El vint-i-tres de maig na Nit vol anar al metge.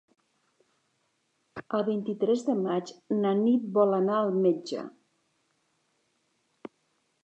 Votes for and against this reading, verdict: 4, 0, accepted